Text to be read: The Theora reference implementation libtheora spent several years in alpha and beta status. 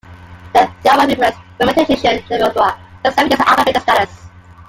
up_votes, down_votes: 0, 2